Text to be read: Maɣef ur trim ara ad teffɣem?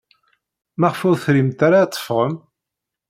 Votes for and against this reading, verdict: 0, 2, rejected